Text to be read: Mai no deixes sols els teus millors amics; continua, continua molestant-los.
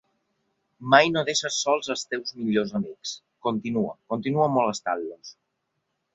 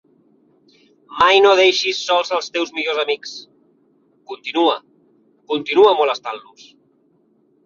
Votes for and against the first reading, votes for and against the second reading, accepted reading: 2, 0, 0, 2, first